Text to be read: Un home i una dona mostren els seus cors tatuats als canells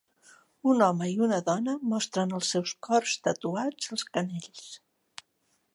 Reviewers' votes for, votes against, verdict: 1, 2, rejected